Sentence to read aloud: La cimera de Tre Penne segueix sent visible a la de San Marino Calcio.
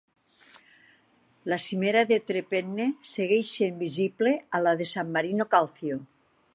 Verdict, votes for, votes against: accepted, 4, 0